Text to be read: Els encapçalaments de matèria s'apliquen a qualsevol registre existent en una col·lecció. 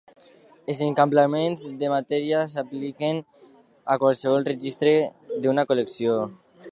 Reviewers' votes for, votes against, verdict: 0, 2, rejected